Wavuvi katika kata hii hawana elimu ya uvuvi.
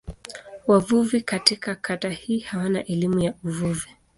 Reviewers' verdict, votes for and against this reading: accepted, 2, 0